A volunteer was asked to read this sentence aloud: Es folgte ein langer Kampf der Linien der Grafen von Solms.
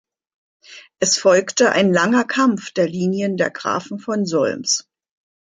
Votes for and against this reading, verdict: 2, 0, accepted